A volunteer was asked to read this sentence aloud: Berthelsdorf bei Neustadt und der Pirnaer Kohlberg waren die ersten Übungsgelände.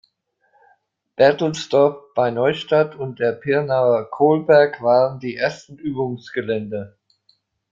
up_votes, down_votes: 2, 0